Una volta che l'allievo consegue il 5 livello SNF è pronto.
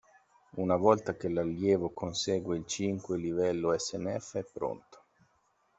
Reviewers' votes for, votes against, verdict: 0, 2, rejected